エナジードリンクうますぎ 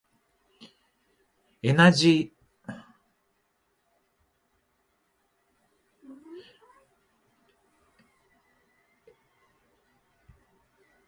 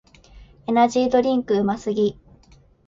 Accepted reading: second